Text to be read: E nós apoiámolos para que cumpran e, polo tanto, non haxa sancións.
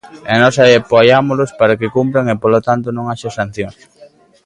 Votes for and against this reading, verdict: 0, 2, rejected